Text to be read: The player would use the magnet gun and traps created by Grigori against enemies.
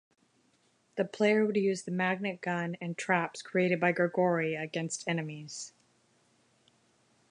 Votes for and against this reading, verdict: 2, 0, accepted